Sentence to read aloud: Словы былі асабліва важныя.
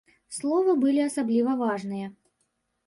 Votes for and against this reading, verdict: 2, 0, accepted